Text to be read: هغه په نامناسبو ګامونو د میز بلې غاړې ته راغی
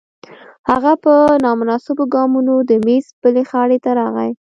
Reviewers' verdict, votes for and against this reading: accepted, 2, 0